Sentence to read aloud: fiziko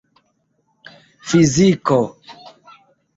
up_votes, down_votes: 0, 2